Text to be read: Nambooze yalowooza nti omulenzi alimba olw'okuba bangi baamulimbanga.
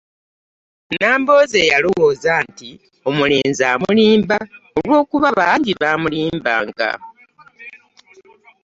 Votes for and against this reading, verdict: 1, 2, rejected